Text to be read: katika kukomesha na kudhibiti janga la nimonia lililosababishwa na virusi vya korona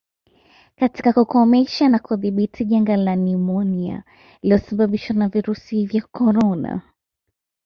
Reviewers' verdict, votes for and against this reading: accepted, 2, 0